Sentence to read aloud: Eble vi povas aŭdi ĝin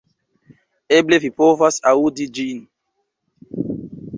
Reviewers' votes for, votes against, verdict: 1, 2, rejected